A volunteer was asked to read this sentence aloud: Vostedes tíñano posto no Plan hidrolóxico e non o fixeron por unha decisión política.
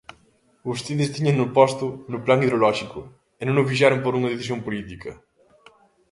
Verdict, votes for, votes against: accepted, 2, 0